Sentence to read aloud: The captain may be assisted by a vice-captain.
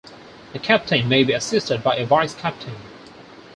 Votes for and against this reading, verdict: 4, 0, accepted